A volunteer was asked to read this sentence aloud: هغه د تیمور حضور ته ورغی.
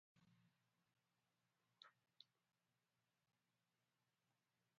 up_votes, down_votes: 0, 2